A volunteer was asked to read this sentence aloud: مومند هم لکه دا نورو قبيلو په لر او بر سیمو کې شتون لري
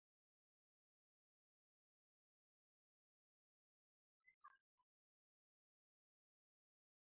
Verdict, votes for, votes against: rejected, 0, 2